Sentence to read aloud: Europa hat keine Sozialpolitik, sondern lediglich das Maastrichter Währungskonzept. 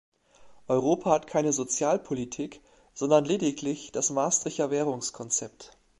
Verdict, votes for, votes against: rejected, 0, 2